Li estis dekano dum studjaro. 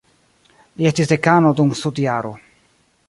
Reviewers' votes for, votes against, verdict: 1, 2, rejected